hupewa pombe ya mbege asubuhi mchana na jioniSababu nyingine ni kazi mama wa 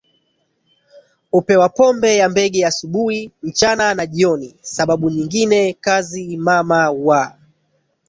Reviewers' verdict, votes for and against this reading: rejected, 1, 2